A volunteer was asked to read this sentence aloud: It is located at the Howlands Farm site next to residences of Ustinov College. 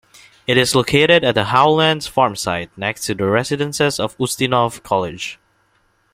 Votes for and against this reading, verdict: 2, 0, accepted